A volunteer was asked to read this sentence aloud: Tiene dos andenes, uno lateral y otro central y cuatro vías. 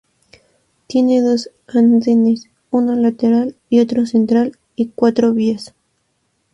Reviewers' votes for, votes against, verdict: 4, 0, accepted